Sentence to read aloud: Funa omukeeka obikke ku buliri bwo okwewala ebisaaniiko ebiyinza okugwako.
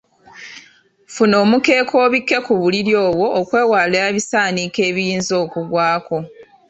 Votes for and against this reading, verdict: 1, 2, rejected